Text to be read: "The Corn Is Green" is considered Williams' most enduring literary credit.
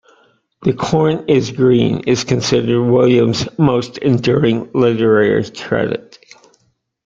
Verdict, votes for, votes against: rejected, 1, 2